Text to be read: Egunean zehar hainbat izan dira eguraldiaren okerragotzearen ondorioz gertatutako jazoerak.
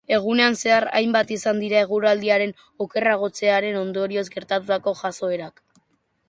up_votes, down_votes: 2, 0